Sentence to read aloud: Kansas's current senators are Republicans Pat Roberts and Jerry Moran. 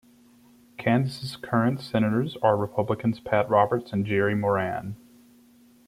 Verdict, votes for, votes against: accepted, 2, 0